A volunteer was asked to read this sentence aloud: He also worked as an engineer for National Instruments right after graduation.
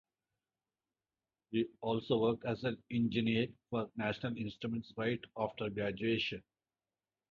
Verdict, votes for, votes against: accepted, 2, 0